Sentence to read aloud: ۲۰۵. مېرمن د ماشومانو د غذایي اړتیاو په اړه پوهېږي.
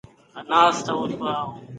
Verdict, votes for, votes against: rejected, 0, 2